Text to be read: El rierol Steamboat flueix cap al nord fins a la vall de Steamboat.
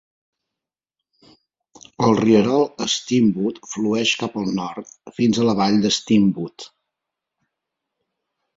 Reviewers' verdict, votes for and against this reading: accepted, 2, 0